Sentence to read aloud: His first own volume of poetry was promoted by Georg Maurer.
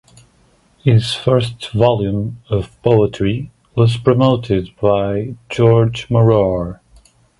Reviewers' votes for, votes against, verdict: 2, 0, accepted